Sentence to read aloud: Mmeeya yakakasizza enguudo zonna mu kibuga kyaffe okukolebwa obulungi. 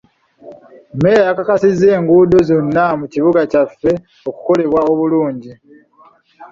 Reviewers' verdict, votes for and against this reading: accepted, 2, 0